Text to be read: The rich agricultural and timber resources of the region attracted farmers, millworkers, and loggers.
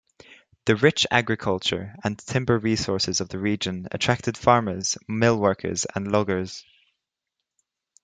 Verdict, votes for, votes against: rejected, 0, 2